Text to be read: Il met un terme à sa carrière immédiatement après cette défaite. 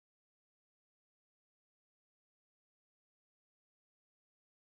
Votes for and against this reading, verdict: 2, 4, rejected